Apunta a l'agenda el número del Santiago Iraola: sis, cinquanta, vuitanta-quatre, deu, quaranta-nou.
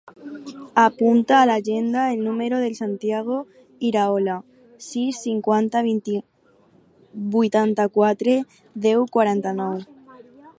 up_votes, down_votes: 0, 4